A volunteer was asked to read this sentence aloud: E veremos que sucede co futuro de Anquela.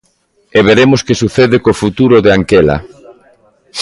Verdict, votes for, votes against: accepted, 2, 0